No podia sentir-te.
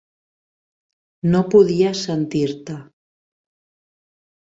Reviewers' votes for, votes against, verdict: 7, 0, accepted